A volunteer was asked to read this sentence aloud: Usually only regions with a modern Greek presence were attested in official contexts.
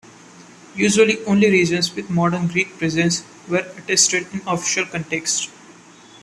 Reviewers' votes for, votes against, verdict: 1, 2, rejected